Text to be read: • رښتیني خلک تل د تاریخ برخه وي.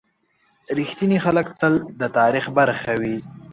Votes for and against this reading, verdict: 2, 0, accepted